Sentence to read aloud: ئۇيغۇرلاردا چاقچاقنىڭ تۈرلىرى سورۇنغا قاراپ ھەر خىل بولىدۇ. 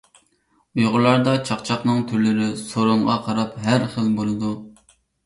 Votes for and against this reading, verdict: 2, 0, accepted